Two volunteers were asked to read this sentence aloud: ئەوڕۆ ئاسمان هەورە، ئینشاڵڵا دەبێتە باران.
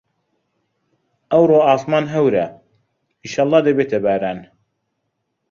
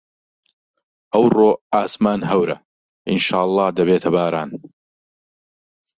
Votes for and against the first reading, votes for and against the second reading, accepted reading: 1, 2, 2, 0, second